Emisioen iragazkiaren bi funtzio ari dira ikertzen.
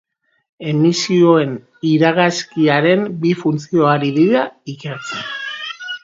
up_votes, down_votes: 2, 0